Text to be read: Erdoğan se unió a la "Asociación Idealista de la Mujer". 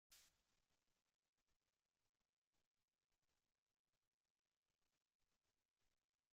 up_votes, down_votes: 0, 2